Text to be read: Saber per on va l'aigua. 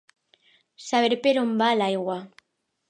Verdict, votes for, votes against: accepted, 2, 0